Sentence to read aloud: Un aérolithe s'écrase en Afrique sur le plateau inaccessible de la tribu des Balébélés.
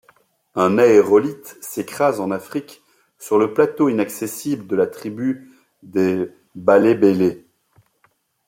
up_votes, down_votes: 2, 1